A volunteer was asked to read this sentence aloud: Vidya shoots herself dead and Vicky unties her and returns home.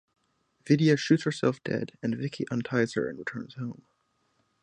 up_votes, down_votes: 6, 0